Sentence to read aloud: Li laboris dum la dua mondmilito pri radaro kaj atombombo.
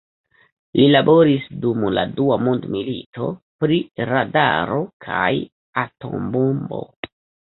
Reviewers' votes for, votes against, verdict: 2, 1, accepted